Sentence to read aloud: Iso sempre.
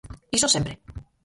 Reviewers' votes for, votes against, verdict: 0, 4, rejected